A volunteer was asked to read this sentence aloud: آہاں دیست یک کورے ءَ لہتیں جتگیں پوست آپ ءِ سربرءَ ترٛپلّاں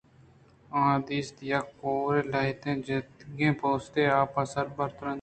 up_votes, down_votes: 2, 1